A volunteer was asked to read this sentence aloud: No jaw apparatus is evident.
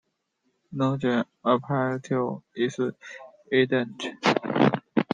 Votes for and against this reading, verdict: 1, 2, rejected